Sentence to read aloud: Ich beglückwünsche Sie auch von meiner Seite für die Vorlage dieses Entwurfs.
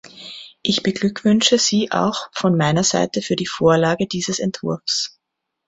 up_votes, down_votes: 2, 0